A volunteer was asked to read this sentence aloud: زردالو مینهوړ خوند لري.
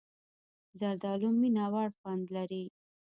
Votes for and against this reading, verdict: 2, 0, accepted